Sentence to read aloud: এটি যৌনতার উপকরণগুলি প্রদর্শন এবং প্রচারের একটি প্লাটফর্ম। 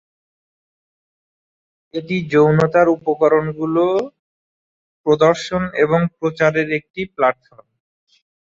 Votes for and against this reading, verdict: 1, 3, rejected